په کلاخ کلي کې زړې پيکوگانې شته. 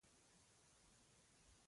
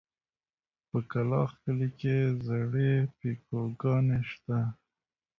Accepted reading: second